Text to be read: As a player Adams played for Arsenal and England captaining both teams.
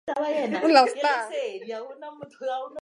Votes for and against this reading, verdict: 0, 4, rejected